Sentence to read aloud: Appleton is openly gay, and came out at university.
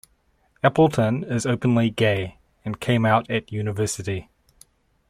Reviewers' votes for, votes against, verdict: 2, 0, accepted